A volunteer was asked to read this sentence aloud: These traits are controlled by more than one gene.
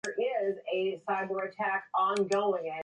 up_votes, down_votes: 0, 2